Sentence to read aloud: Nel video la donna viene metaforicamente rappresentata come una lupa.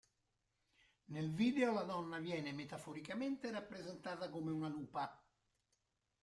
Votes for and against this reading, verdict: 1, 3, rejected